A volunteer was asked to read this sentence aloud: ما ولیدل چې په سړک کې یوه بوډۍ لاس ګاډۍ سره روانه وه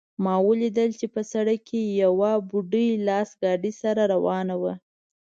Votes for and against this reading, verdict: 1, 2, rejected